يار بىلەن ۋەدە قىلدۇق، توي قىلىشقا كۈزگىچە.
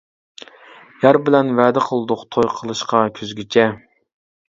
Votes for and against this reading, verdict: 2, 0, accepted